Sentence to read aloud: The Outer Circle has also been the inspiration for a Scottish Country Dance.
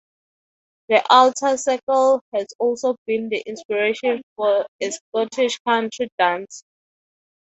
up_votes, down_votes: 3, 0